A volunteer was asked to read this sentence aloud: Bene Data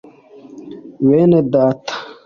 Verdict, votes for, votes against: accepted, 3, 0